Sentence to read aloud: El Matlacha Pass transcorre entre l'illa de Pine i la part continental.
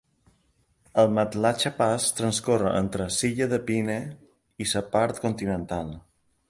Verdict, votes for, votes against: rejected, 1, 2